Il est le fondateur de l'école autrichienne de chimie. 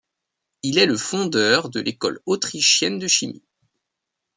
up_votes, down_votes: 0, 2